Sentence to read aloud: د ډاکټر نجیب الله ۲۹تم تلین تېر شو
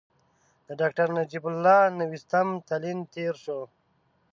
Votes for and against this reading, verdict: 0, 2, rejected